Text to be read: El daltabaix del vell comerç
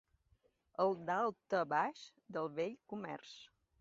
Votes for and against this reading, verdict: 2, 0, accepted